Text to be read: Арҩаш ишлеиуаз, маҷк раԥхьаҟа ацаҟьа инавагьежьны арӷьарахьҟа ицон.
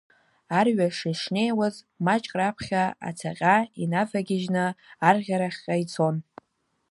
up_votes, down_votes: 1, 2